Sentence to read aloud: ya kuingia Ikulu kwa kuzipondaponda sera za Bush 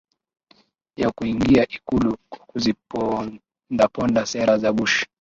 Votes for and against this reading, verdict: 2, 3, rejected